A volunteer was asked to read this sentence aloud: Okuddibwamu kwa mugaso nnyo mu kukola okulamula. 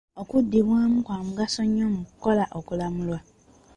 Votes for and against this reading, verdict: 2, 1, accepted